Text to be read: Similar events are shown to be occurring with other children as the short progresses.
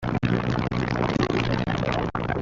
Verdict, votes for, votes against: rejected, 0, 2